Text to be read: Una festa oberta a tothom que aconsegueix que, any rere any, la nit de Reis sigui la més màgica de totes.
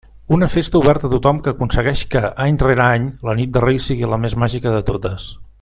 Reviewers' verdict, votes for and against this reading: accepted, 2, 0